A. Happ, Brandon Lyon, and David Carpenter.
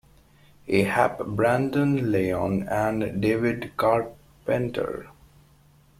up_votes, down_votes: 2, 1